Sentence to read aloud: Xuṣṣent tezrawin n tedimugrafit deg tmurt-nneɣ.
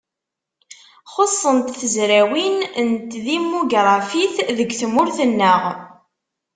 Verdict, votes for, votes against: accepted, 2, 0